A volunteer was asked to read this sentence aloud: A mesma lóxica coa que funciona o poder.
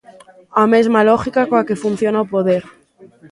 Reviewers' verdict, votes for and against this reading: rejected, 0, 2